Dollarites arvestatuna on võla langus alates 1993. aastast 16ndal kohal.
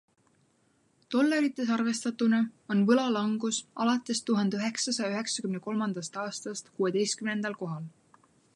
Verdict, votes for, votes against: rejected, 0, 2